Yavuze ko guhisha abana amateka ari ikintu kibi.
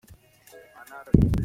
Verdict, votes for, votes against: rejected, 0, 2